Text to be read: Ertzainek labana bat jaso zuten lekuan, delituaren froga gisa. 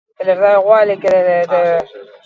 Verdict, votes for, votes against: rejected, 0, 4